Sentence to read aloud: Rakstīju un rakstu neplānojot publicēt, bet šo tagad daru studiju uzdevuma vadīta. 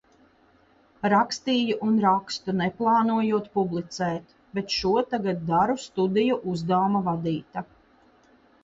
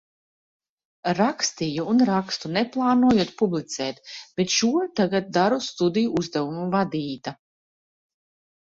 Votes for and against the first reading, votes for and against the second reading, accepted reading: 2, 1, 0, 2, first